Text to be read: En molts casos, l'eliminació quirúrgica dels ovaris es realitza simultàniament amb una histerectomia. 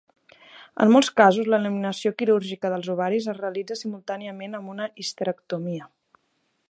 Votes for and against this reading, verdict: 2, 0, accepted